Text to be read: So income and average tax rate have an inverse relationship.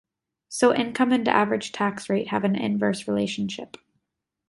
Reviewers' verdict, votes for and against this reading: accepted, 2, 0